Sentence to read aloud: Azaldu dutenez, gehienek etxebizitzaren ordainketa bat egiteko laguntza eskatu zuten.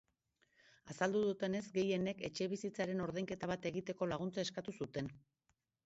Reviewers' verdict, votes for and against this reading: accepted, 2, 0